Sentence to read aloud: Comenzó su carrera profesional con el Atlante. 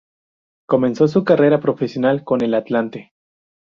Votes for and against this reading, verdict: 2, 0, accepted